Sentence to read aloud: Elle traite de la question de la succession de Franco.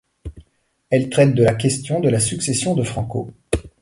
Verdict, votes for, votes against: rejected, 1, 2